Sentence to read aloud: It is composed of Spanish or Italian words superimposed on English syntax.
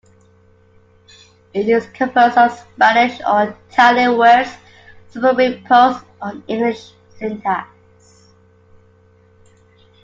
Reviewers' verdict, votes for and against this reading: accepted, 2, 0